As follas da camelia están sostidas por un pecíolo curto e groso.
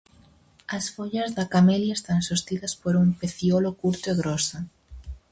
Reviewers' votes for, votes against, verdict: 2, 2, rejected